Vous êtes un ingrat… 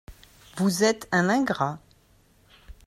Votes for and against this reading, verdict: 2, 0, accepted